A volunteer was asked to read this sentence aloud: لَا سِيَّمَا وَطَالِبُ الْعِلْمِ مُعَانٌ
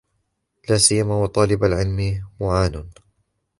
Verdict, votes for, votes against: rejected, 1, 2